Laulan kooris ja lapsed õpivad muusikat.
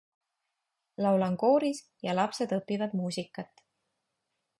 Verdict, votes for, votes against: accepted, 2, 0